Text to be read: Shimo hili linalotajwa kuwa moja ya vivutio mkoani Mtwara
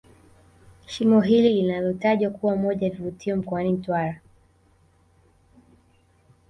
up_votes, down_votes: 2, 1